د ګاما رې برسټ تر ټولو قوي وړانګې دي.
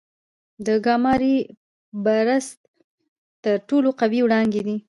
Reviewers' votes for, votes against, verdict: 0, 2, rejected